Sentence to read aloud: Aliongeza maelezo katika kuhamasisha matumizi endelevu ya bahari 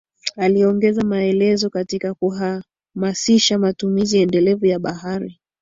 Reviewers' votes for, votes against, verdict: 2, 0, accepted